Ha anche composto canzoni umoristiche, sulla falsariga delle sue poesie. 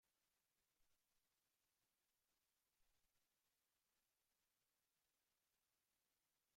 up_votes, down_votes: 0, 2